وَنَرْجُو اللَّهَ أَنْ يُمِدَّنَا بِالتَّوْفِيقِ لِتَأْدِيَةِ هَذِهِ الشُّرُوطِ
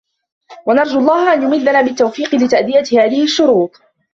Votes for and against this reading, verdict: 1, 2, rejected